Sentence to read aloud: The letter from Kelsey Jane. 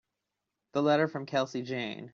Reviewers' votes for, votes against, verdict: 2, 0, accepted